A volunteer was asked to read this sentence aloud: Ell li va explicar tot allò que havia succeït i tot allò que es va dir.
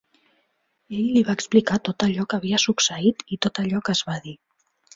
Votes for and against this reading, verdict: 2, 0, accepted